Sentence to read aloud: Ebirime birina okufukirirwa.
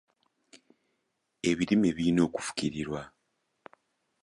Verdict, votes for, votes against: accepted, 2, 0